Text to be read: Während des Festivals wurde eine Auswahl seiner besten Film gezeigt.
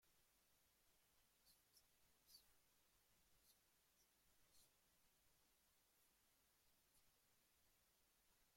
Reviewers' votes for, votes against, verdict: 0, 2, rejected